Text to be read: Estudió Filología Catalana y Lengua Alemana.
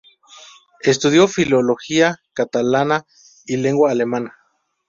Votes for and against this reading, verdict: 2, 0, accepted